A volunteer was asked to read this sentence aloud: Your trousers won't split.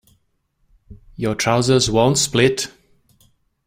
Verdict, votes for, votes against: accepted, 2, 0